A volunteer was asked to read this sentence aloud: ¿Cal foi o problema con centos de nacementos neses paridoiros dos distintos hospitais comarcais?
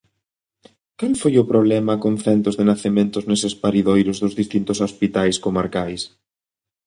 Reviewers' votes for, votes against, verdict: 0, 2, rejected